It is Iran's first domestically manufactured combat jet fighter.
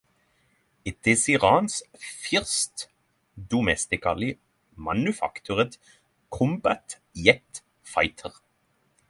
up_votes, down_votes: 0, 3